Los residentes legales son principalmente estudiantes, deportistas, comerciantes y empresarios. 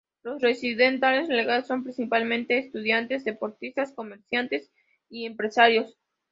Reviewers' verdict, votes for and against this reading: rejected, 0, 4